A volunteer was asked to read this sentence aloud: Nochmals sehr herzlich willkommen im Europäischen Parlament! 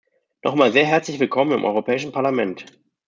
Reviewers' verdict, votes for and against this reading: rejected, 0, 2